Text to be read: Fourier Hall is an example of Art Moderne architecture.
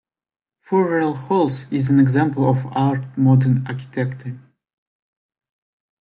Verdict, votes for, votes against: rejected, 1, 2